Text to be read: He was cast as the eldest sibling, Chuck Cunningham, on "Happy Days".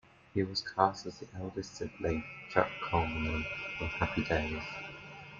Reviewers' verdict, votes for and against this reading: accepted, 2, 0